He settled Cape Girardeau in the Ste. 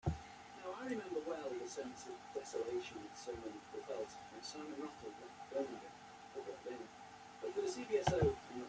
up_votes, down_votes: 0, 2